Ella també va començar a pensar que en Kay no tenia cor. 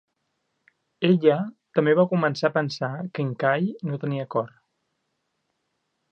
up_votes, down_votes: 3, 0